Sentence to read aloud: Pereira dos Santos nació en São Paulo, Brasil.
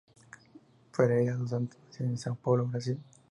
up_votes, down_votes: 0, 4